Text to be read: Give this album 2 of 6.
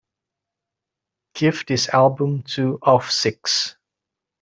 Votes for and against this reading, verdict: 0, 2, rejected